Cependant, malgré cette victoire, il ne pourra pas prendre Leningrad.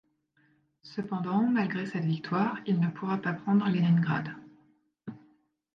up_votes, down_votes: 0, 2